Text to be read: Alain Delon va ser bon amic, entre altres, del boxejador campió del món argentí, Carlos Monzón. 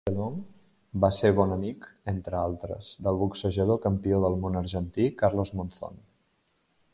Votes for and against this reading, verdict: 0, 2, rejected